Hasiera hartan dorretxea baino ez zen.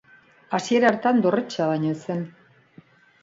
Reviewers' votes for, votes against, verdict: 2, 1, accepted